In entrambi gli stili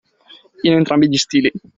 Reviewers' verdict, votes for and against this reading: accepted, 2, 0